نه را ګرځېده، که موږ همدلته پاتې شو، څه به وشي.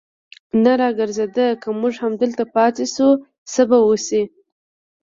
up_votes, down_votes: 2, 0